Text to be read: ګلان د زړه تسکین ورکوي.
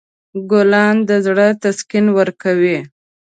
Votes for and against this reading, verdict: 2, 1, accepted